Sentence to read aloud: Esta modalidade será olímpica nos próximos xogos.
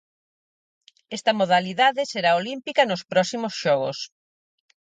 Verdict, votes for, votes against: accepted, 4, 0